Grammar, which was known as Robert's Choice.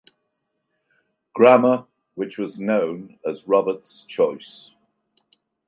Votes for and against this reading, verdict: 2, 0, accepted